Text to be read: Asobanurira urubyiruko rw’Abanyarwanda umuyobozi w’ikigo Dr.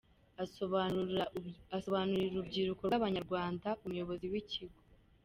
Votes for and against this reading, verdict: 1, 3, rejected